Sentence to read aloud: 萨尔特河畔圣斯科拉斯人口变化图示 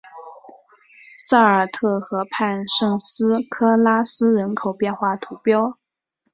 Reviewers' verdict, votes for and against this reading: accepted, 2, 1